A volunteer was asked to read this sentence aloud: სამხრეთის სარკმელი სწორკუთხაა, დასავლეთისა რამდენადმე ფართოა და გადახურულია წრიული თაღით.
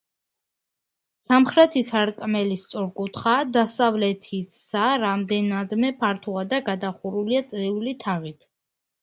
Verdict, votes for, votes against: rejected, 1, 2